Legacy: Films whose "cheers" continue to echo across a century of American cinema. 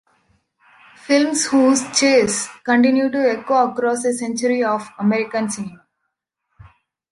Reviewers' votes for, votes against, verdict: 0, 2, rejected